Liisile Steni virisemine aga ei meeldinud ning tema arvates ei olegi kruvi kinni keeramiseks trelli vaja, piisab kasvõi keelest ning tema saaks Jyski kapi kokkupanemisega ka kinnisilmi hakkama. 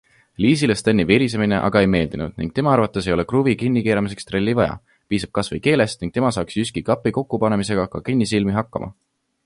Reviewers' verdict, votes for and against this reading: accepted, 2, 1